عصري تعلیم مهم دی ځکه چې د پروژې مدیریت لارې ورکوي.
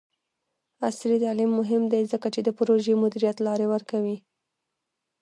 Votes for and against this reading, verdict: 2, 1, accepted